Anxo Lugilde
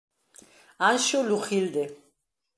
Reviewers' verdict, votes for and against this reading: accepted, 2, 0